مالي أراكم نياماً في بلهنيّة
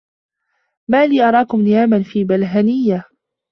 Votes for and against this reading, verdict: 2, 1, accepted